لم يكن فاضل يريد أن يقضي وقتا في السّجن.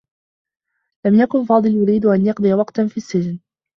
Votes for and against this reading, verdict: 2, 1, accepted